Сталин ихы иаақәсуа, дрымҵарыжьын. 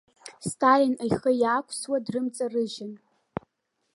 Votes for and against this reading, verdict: 2, 0, accepted